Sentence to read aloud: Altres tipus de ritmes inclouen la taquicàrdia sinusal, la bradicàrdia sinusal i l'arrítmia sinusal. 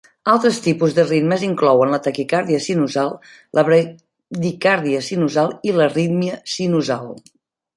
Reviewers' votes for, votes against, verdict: 1, 2, rejected